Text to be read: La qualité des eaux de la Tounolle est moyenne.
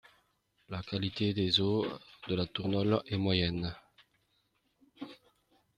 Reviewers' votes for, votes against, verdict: 0, 2, rejected